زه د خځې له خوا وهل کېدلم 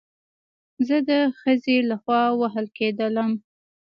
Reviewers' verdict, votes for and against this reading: rejected, 1, 2